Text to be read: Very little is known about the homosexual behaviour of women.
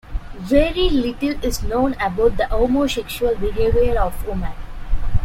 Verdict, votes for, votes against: rejected, 1, 2